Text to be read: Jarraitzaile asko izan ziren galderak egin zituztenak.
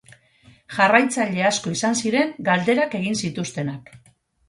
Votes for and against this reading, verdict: 4, 0, accepted